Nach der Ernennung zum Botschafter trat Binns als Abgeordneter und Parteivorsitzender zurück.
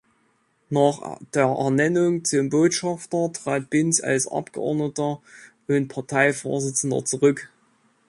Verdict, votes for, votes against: accepted, 2, 1